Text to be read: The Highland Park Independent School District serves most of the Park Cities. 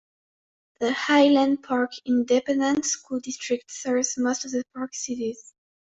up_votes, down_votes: 0, 2